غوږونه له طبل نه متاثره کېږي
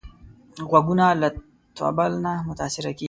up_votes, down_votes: 1, 2